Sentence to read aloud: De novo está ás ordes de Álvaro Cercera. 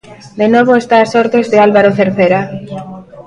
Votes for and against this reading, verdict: 1, 2, rejected